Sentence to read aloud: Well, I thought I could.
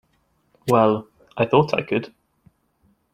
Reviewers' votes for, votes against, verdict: 2, 0, accepted